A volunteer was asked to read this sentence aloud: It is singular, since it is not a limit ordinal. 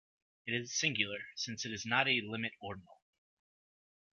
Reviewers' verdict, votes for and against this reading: accepted, 2, 0